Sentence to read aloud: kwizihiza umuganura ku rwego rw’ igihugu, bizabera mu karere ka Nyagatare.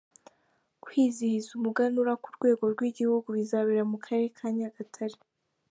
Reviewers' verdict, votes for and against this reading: accepted, 2, 1